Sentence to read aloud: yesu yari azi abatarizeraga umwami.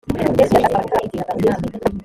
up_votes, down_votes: 3, 4